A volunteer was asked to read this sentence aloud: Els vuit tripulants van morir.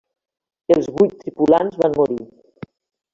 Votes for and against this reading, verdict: 1, 2, rejected